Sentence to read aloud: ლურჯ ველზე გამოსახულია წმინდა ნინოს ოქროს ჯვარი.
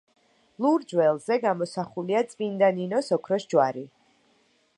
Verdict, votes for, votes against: accepted, 2, 0